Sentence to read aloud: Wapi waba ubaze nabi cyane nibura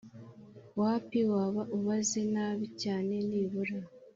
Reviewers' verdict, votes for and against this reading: accepted, 2, 0